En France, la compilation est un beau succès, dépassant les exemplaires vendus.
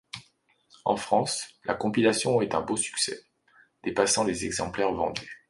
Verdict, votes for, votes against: accepted, 2, 0